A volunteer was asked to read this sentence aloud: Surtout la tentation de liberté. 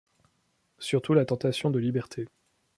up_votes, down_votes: 2, 0